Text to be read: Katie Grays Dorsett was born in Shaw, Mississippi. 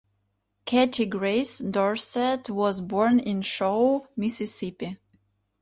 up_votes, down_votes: 2, 1